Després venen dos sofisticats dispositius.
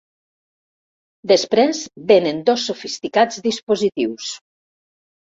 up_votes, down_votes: 3, 1